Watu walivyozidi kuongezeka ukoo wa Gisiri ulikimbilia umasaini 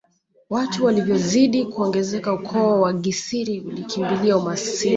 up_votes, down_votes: 0, 2